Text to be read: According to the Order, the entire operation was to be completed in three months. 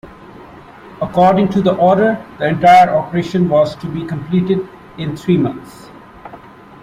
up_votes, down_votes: 2, 0